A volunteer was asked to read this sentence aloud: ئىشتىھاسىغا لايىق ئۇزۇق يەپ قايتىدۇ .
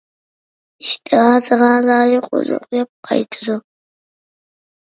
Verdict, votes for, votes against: rejected, 0, 2